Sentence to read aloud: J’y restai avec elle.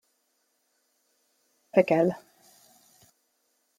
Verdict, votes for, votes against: rejected, 0, 2